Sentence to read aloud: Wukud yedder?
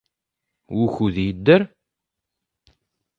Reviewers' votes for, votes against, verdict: 2, 0, accepted